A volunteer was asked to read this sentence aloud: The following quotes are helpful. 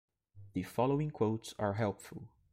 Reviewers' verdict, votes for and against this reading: rejected, 0, 3